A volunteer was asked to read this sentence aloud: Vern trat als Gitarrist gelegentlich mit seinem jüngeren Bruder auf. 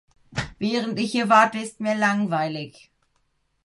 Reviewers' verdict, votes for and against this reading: rejected, 0, 2